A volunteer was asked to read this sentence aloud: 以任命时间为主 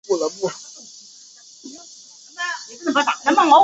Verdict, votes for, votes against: rejected, 1, 2